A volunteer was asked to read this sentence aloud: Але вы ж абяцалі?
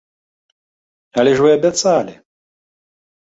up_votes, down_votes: 1, 2